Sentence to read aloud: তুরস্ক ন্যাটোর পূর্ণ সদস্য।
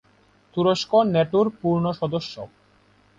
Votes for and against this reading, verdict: 2, 0, accepted